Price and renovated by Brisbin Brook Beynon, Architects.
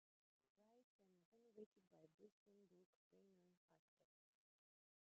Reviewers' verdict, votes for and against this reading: rejected, 0, 2